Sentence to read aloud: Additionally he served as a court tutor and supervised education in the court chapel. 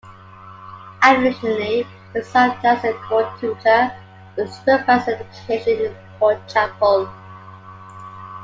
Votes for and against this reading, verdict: 0, 2, rejected